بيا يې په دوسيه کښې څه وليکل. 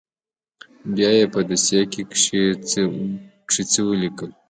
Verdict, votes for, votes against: rejected, 1, 2